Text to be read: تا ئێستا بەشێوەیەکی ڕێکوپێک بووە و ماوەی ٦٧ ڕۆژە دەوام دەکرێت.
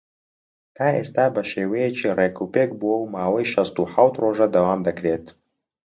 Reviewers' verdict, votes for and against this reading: rejected, 0, 2